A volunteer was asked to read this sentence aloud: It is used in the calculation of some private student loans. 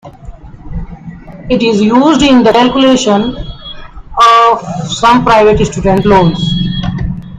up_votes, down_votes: 0, 3